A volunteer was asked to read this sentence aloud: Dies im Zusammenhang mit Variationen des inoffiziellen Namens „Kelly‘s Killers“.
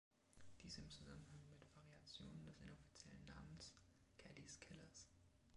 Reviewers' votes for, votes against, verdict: 0, 3, rejected